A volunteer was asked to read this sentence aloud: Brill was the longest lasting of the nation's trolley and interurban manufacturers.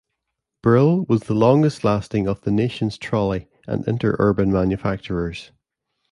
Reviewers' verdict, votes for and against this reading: accepted, 2, 0